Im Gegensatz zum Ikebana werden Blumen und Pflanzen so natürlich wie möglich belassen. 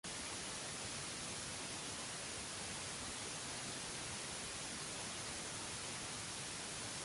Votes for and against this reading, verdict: 0, 2, rejected